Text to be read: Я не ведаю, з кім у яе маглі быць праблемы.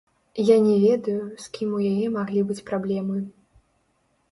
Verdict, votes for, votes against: rejected, 1, 2